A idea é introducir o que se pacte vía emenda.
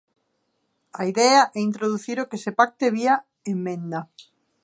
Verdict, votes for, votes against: rejected, 1, 2